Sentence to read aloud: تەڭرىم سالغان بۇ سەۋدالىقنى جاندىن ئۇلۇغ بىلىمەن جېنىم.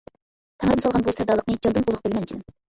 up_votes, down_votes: 0, 2